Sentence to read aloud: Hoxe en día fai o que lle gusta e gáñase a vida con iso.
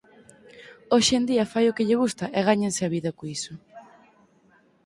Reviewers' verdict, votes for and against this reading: rejected, 0, 4